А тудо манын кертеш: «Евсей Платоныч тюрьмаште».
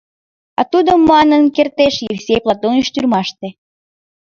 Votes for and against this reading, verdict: 2, 0, accepted